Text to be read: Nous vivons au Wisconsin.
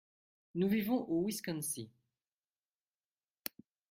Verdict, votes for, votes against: accepted, 2, 0